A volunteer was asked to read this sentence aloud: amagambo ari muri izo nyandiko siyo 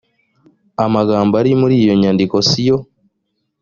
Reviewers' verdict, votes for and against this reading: rejected, 0, 2